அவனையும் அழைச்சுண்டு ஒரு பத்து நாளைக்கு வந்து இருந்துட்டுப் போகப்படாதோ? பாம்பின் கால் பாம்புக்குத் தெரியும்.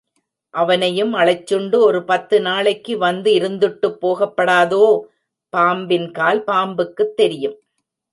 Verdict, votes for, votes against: rejected, 1, 2